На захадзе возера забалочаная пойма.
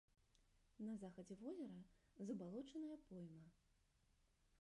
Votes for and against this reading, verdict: 1, 2, rejected